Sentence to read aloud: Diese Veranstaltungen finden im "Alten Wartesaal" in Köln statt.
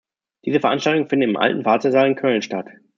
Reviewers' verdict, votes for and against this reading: accepted, 2, 0